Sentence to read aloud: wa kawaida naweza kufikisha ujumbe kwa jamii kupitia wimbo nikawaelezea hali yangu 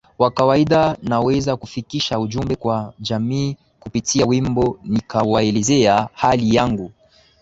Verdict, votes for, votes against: accepted, 12, 3